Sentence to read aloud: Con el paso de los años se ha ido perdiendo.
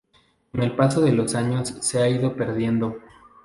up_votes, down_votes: 0, 2